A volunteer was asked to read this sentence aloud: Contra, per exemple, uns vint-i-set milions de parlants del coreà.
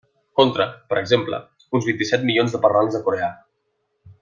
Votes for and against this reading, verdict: 1, 2, rejected